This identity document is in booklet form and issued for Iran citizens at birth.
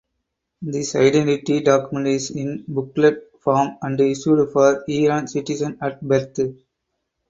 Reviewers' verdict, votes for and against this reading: accepted, 4, 0